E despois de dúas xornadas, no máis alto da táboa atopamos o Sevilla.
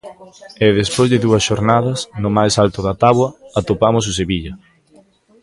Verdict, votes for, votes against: rejected, 1, 2